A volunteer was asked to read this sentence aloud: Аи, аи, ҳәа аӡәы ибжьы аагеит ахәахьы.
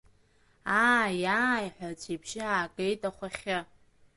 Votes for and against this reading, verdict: 0, 2, rejected